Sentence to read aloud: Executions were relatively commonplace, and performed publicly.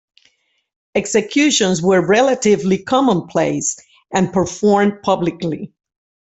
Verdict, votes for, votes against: accepted, 2, 0